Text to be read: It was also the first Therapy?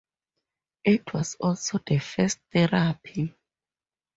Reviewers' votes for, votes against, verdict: 2, 0, accepted